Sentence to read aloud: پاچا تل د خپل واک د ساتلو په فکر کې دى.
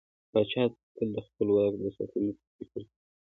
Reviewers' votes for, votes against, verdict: 2, 0, accepted